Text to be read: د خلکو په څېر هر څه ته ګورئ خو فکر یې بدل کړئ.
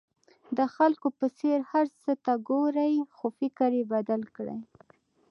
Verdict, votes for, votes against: rejected, 0, 2